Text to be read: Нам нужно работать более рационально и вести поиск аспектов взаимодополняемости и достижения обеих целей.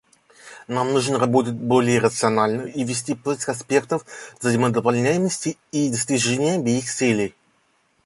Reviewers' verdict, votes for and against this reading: accepted, 2, 0